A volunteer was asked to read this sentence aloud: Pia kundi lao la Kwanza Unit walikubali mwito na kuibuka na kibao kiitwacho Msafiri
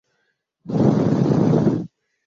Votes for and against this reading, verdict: 0, 2, rejected